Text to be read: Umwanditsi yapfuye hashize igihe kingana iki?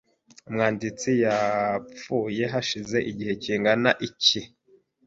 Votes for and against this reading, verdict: 2, 0, accepted